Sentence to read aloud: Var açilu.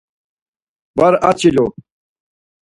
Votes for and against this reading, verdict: 4, 0, accepted